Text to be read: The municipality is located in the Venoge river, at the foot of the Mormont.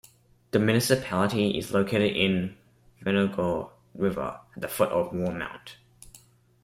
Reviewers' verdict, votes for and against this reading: rejected, 1, 2